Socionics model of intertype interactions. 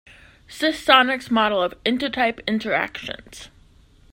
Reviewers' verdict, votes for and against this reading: accepted, 2, 0